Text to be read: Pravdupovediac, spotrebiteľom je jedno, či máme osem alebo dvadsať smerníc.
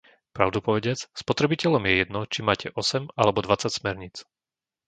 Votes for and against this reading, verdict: 0, 2, rejected